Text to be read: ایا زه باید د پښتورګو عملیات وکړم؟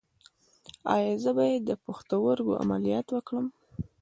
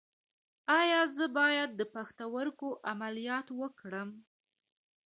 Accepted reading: second